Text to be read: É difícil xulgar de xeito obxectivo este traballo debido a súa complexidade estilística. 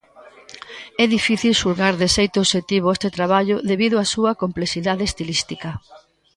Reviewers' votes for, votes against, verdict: 1, 2, rejected